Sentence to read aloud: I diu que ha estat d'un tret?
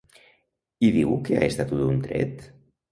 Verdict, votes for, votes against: rejected, 0, 2